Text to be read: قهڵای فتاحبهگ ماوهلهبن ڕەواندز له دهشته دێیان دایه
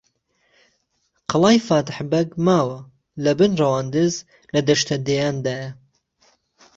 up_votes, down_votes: 0, 2